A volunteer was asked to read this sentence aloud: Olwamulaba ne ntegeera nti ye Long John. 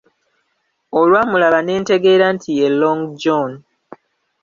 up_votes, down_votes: 1, 2